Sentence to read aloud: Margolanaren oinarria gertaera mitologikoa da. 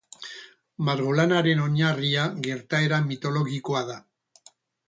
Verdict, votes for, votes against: accepted, 4, 0